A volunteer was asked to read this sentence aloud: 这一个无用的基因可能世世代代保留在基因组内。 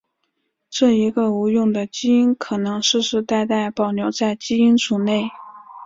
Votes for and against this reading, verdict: 2, 0, accepted